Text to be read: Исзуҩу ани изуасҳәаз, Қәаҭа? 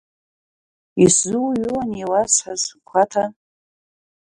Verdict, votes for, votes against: rejected, 0, 3